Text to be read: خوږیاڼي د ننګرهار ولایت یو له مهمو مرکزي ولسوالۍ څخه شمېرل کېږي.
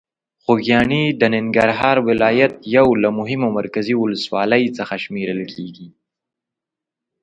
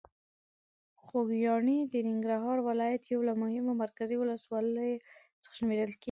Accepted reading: first